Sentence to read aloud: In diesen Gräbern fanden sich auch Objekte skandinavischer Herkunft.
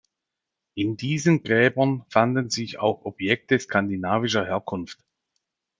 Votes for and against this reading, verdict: 2, 0, accepted